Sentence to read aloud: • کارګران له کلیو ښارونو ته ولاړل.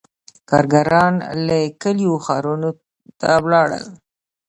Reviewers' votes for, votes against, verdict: 2, 0, accepted